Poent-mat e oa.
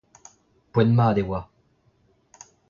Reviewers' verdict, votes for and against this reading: accepted, 2, 0